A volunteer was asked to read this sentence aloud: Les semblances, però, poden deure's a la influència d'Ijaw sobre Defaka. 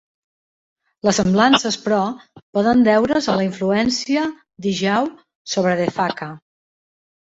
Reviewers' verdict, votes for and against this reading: accepted, 2, 1